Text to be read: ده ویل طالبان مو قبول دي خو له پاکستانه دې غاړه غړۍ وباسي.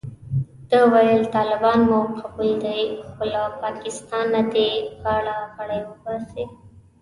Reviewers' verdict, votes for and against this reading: rejected, 1, 2